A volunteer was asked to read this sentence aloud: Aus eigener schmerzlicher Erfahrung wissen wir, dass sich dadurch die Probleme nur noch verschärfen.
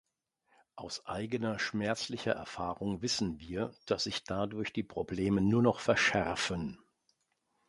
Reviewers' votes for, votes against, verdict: 2, 0, accepted